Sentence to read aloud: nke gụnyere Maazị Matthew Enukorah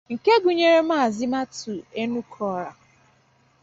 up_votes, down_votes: 2, 0